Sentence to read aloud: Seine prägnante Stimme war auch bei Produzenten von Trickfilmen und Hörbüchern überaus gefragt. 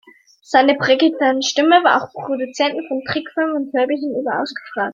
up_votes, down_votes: 0, 2